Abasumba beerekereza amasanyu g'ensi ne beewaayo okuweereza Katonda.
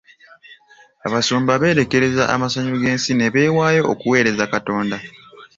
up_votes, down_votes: 2, 0